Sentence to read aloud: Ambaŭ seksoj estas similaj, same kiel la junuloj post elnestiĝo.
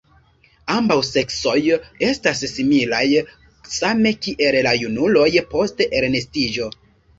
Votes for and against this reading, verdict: 1, 2, rejected